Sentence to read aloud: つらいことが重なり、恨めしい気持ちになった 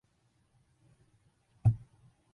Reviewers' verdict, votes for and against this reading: rejected, 0, 2